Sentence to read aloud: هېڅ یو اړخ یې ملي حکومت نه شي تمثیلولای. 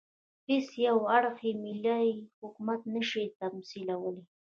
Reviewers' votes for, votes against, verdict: 2, 1, accepted